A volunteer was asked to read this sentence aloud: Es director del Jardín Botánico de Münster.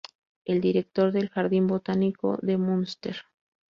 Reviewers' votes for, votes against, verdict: 0, 2, rejected